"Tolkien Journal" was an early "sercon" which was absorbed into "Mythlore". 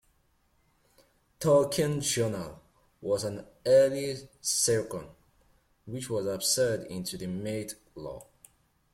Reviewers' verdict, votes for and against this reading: rejected, 1, 2